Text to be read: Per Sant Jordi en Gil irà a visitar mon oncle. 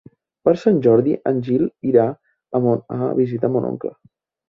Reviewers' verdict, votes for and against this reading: rejected, 0, 2